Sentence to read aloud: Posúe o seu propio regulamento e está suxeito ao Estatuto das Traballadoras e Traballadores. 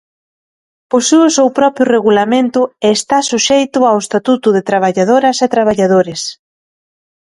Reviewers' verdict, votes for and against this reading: rejected, 0, 2